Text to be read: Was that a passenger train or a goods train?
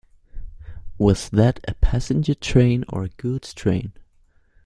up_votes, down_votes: 2, 1